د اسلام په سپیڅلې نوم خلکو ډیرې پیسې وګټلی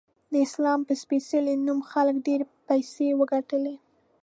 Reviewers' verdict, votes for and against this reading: accepted, 2, 0